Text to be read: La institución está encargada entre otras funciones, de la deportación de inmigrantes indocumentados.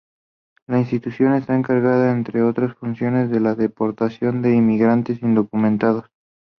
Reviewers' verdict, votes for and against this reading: accepted, 2, 0